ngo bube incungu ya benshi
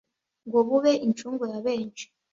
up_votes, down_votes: 2, 0